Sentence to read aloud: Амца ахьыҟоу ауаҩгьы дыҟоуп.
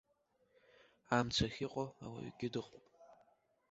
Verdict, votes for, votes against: accepted, 2, 0